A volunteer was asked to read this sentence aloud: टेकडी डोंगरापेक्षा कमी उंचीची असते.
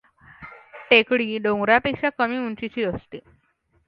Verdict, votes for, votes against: accepted, 2, 0